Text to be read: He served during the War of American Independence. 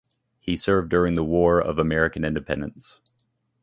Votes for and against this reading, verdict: 2, 0, accepted